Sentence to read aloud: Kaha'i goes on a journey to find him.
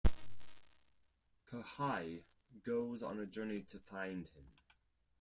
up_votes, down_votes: 2, 4